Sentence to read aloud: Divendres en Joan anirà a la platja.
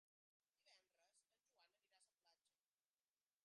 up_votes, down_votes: 2, 3